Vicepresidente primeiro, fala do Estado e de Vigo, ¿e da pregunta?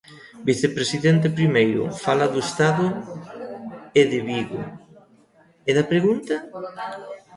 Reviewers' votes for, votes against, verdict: 0, 2, rejected